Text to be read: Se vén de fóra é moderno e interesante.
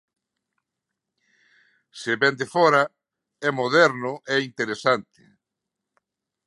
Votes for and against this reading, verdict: 2, 0, accepted